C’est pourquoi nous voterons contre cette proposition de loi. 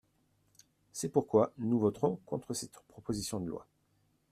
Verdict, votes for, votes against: rejected, 0, 2